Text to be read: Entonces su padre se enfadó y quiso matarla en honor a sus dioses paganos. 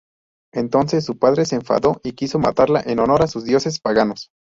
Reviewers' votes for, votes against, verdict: 2, 0, accepted